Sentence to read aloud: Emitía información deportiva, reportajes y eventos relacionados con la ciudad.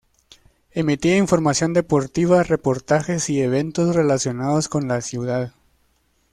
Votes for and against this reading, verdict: 2, 0, accepted